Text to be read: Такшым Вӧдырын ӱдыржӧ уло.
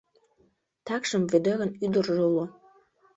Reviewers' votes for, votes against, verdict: 2, 1, accepted